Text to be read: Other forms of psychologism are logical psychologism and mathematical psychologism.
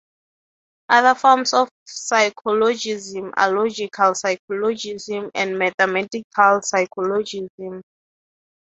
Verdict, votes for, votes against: accepted, 3, 0